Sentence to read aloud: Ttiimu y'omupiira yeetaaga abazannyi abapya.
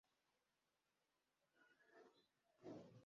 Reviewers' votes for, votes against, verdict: 0, 2, rejected